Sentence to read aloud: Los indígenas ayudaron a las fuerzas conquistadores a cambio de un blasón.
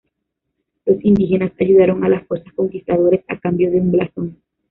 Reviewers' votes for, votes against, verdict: 1, 2, rejected